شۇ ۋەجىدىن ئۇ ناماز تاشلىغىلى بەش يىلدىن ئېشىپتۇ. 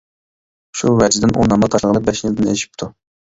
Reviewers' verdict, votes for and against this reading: rejected, 0, 2